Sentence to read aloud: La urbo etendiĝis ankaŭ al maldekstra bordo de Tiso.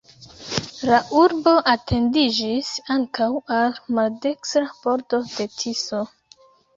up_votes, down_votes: 1, 2